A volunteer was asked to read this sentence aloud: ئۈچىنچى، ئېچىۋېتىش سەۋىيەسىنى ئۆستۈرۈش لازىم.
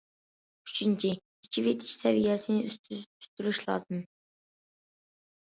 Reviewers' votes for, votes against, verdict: 0, 2, rejected